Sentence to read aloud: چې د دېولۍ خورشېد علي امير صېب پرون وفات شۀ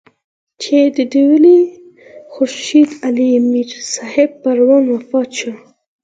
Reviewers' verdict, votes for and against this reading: rejected, 2, 4